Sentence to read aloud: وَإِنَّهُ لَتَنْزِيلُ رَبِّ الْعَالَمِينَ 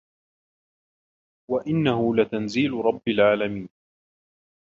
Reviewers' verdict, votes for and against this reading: rejected, 1, 2